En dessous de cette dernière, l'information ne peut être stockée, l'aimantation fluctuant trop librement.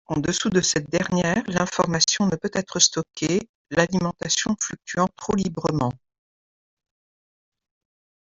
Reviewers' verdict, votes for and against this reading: rejected, 1, 2